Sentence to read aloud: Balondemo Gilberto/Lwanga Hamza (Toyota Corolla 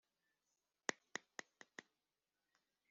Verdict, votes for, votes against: rejected, 0, 2